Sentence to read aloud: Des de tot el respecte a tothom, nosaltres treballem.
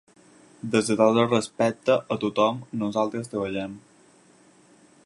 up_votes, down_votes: 2, 4